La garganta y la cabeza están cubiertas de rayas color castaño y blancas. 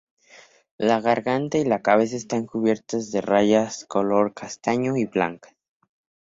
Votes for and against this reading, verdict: 2, 2, rejected